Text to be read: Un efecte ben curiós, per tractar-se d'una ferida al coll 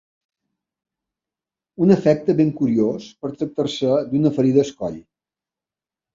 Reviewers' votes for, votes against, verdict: 0, 2, rejected